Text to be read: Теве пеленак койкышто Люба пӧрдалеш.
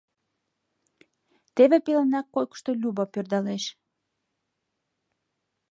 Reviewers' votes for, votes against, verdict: 2, 0, accepted